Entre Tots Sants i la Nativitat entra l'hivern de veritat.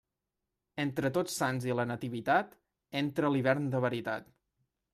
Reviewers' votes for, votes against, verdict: 2, 0, accepted